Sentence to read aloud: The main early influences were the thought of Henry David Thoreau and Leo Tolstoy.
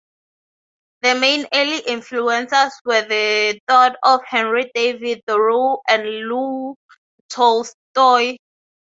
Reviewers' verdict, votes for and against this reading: accepted, 3, 0